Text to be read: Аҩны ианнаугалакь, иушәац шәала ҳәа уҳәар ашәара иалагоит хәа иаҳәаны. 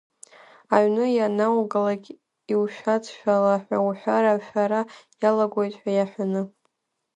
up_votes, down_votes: 5, 6